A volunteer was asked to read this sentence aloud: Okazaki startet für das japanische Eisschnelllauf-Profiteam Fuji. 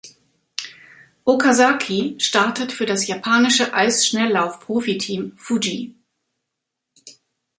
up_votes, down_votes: 2, 1